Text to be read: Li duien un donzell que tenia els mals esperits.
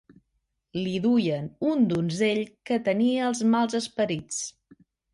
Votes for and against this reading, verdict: 3, 0, accepted